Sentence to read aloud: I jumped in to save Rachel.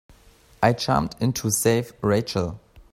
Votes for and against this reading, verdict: 2, 0, accepted